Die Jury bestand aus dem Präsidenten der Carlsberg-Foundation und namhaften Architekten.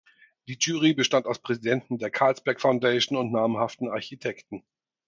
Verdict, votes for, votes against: rejected, 2, 4